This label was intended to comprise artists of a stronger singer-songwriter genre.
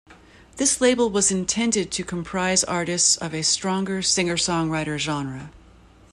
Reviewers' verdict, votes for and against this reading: accepted, 2, 0